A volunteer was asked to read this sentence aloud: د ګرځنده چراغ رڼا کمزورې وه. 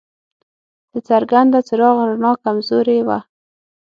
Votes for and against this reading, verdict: 0, 6, rejected